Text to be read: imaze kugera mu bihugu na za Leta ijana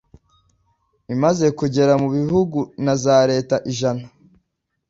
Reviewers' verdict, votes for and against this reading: accepted, 2, 0